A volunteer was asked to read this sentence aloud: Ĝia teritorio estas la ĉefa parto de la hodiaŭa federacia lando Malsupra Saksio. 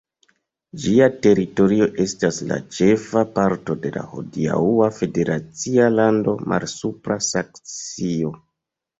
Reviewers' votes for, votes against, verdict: 1, 2, rejected